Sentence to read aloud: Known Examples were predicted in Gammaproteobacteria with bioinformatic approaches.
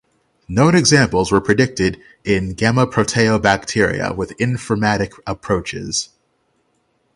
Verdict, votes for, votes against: rejected, 0, 6